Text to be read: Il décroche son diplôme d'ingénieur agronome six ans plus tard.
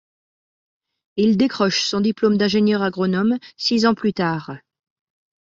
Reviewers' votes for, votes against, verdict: 2, 0, accepted